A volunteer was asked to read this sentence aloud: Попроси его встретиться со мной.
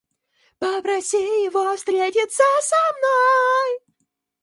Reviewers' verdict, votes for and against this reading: accepted, 2, 0